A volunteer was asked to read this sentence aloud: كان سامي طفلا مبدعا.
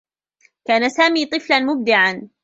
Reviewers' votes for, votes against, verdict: 2, 0, accepted